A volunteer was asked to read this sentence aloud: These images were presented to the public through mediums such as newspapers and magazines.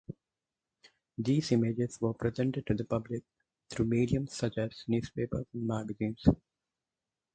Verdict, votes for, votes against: rejected, 2, 4